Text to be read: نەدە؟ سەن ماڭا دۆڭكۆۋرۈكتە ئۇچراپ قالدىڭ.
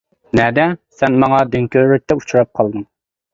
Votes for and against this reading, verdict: 2, 1, accepted